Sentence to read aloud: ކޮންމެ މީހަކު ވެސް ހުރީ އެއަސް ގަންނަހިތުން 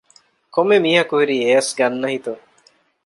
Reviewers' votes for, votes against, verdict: 1, 2, rejected